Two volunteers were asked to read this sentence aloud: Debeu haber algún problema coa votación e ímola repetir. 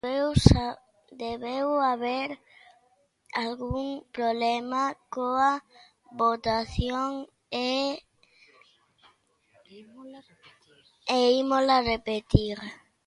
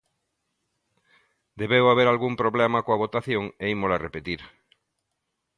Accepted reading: second